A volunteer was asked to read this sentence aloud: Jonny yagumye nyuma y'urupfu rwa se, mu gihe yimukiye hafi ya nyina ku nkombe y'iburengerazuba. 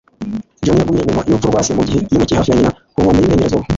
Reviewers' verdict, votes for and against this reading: rejected, 1, 2